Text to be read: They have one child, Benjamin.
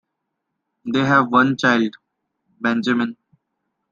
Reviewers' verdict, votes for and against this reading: accepted, 2, 0